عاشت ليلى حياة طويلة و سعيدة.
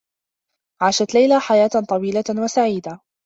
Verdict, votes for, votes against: accepted, 2, 0